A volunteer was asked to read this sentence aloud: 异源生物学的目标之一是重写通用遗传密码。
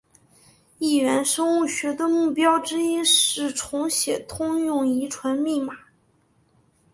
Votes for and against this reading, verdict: 2, 0, accepted